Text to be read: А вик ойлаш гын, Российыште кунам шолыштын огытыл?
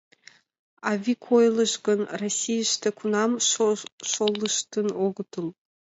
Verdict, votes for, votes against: rejected, 0, 2